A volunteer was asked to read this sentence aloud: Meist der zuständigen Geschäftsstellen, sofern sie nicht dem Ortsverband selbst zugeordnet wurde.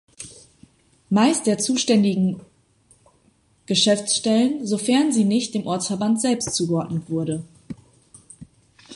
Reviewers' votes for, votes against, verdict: 0, 2, rejected